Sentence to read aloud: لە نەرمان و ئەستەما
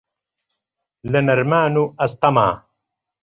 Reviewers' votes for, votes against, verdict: 2, 0, accepted